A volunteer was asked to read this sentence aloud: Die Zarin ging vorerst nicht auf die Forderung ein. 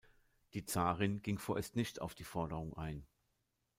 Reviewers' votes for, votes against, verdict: 2, 1, accepted